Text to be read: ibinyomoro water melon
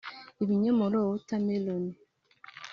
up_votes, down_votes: 3, 1